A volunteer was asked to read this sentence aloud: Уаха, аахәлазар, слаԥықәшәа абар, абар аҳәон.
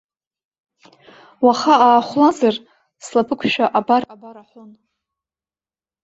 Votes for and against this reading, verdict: 0, 2, rejected